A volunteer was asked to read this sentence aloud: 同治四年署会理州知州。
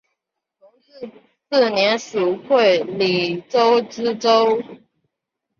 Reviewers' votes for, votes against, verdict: 0, 2, rejected